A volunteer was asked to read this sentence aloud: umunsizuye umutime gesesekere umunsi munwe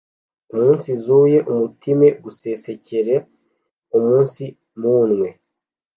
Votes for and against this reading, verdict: 1, 2, rejected